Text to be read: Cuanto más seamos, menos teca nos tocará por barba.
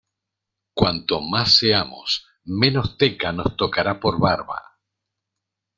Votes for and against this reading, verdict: 2, 0, accepted